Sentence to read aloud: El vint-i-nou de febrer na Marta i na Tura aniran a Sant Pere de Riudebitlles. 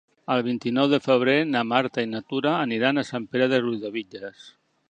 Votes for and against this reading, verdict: 2, 0, accepted